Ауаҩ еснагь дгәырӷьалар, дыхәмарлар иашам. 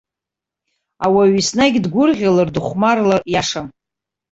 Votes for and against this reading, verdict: 2, 1, accepted